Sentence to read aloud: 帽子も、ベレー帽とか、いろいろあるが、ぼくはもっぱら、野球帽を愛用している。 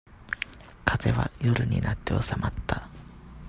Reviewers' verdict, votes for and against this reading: rejected, 0, 2